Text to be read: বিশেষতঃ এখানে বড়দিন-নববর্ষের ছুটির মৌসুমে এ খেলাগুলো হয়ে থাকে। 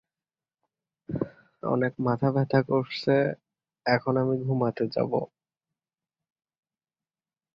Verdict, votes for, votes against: rejected, 0, 4